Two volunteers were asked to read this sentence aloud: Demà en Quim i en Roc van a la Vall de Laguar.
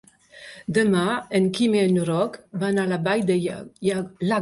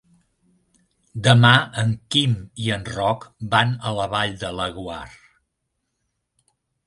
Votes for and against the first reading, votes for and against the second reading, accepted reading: 1, 2, 3, 0, second